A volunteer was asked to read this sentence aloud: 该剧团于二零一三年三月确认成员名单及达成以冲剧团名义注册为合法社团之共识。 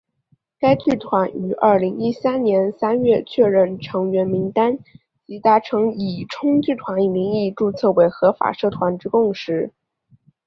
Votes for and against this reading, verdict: 2, 0, accepted